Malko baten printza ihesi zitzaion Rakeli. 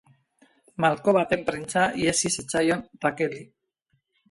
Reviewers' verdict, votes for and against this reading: accepted, 4, 0